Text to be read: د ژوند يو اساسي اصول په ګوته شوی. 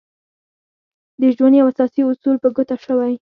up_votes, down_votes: 0, 4